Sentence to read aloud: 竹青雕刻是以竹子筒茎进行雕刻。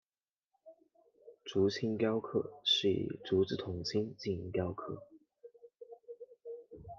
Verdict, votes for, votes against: accepted, 2, 0